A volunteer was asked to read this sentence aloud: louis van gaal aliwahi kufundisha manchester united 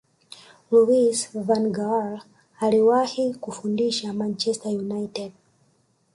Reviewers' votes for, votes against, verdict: 0, 2, rejected